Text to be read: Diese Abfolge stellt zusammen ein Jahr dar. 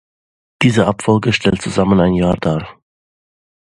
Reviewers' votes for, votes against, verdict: 2, 0, accepted